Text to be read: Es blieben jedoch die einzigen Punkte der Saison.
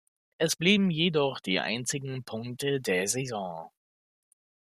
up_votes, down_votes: 2, 0